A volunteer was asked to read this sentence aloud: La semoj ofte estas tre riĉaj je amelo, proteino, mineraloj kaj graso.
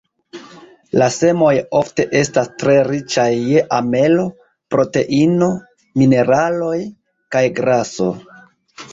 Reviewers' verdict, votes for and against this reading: accepted, 2, 0